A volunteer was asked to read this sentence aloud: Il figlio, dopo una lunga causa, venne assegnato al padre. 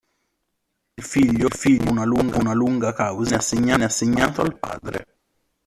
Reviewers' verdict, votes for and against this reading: rejected, 0, 2